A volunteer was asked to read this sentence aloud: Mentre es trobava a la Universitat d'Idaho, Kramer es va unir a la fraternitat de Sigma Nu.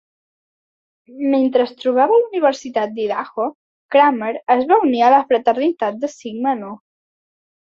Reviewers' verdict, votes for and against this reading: accepted, 2, 0